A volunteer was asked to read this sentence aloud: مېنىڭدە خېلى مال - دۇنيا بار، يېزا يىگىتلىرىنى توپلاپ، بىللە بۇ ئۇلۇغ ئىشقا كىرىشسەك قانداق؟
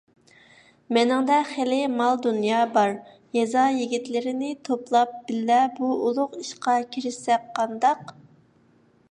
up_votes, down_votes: 2, 0